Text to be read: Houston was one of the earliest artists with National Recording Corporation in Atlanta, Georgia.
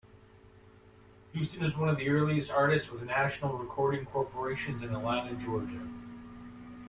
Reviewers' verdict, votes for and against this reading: rejected, 1, 2